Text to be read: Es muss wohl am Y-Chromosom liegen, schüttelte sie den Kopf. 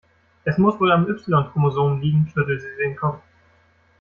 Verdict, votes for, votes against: rejected, 1, 2